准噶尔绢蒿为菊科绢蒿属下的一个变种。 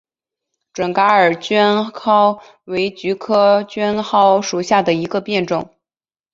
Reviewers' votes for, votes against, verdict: 3, 0, accepted